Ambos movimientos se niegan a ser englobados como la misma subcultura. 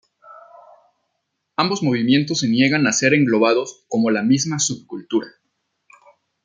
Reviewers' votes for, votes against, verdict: 2, 0, accepted